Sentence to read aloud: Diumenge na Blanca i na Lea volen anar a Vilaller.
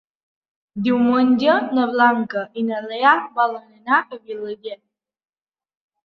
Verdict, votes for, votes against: accepted, 3, 0